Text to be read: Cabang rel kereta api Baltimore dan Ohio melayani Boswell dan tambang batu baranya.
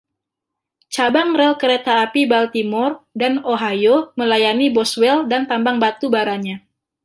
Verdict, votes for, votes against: accepted, 2, 1